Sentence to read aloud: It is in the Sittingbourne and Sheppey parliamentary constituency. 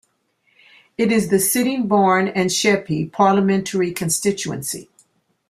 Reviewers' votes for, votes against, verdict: 1, 2, rejected